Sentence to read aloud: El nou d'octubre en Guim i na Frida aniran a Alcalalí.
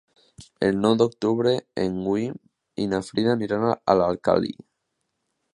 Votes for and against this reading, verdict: 0, 2, rejected